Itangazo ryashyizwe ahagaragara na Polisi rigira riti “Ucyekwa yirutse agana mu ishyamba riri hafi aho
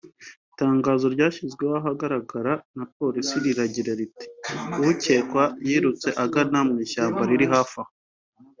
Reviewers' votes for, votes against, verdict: 2, 1, accepted